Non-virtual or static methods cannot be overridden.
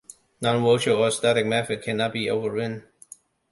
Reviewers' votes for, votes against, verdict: 0, 2, rejected